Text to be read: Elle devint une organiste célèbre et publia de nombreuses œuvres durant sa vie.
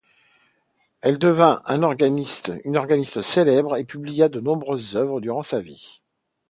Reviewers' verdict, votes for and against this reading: rejected, 0, 2